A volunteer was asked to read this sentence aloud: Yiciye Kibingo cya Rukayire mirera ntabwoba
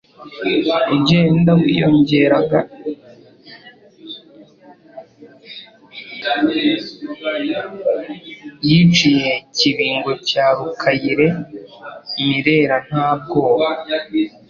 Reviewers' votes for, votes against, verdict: 0, 2, rejected